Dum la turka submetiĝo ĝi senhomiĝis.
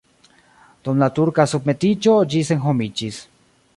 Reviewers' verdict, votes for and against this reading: accepted, 2, 1